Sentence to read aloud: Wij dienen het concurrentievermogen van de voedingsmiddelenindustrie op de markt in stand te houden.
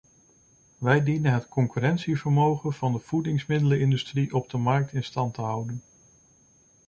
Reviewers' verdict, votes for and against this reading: accepted, 2, 0